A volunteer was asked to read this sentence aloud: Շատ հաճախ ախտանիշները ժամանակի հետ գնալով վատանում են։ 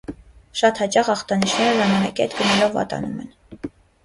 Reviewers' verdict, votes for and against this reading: rejected, 1, 2